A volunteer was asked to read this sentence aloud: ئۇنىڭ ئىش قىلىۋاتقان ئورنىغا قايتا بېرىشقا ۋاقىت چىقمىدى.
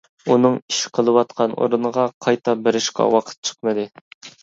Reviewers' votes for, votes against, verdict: 2, 0, accepted